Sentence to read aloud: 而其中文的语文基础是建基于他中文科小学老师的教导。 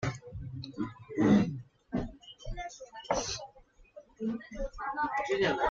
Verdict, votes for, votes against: rejected, 0, 2